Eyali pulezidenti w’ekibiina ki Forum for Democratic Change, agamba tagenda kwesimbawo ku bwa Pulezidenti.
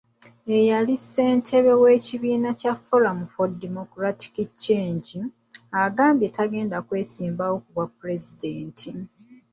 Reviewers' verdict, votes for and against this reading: rejected, 0, 2